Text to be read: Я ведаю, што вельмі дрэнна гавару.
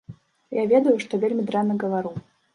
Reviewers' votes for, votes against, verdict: 1, 2, rejected